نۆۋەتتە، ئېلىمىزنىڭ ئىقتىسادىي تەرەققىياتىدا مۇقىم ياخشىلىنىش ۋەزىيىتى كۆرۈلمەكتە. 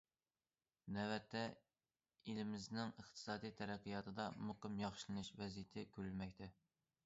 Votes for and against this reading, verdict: 2, 0, accepted